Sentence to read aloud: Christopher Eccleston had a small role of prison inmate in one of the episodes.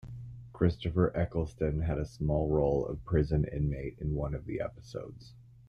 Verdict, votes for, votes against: accepted, 2, 1